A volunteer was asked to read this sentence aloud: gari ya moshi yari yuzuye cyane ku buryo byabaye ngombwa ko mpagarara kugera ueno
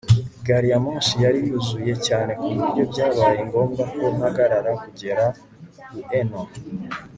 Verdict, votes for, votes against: accepted, 2, 0